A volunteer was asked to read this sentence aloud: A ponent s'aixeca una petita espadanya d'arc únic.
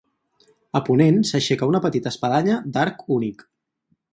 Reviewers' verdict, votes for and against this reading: accepted, 2, 0